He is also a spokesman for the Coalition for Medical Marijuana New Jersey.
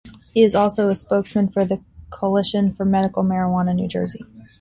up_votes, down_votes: 0, 2